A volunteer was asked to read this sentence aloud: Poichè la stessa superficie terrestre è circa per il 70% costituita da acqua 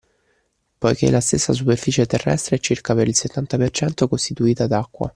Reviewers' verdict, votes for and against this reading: rejected, 0, 2